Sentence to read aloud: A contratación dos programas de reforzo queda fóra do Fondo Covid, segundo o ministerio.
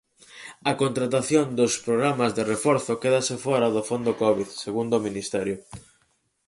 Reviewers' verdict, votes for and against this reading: rejected, 0, 4